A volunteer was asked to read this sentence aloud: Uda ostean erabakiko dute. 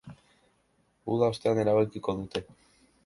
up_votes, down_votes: 2, 1